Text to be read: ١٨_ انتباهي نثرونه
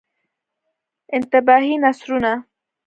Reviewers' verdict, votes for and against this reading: rejected, 0, 2